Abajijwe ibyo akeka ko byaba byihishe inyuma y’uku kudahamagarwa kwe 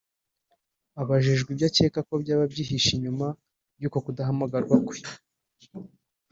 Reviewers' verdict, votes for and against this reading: rejected, 1, 2